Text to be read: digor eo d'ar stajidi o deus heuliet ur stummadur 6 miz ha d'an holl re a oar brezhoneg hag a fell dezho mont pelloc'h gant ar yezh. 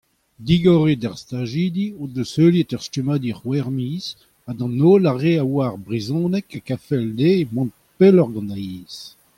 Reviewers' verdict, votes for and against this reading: rejected, 0, 2